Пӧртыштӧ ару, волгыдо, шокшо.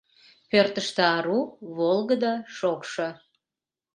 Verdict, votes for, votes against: accepted, 2, 0